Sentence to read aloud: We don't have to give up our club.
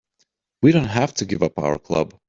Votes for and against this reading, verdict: 3, 0, accepted